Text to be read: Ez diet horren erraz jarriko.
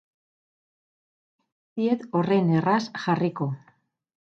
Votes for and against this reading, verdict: 0, 6, rejected